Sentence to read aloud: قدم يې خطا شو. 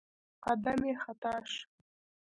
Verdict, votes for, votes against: rejected, 1, 2